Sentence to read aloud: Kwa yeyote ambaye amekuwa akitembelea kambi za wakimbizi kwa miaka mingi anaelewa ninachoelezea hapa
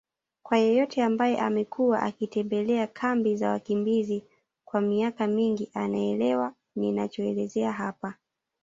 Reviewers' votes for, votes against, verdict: 2, 0, accepted